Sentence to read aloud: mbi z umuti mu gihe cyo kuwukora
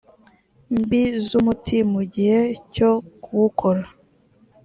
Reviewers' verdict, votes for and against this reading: accepted, 2, 0